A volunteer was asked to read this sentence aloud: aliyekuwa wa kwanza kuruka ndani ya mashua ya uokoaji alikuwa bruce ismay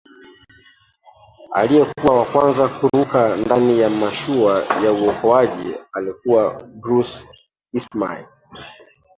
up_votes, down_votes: 0, 2